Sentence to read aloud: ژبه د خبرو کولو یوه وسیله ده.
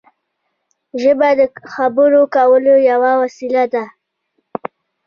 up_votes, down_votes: 2, 1